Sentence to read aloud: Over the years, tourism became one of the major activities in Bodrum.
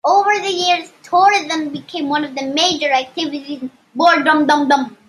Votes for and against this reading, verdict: 0, 2, rejected